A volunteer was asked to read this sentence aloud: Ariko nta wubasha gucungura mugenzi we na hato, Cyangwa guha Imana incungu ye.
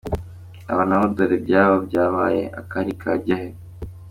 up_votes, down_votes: 0, 2